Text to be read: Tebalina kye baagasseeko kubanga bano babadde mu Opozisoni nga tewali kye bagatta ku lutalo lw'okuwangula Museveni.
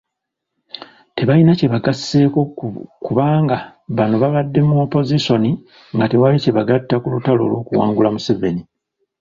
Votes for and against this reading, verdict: 3, 1, accepted